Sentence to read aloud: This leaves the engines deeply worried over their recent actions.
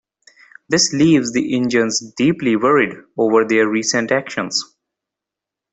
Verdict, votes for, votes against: rejected, 1, 2